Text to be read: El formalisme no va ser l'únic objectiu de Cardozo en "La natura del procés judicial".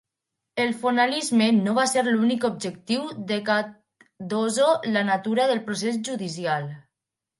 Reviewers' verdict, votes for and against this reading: rejected, 1, 2